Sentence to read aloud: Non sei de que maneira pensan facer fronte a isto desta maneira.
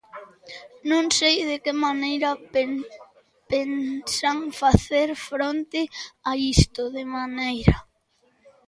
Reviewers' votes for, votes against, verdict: 0, 2, rejected